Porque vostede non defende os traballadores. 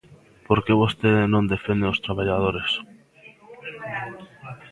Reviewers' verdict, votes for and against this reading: rejected, 1, 2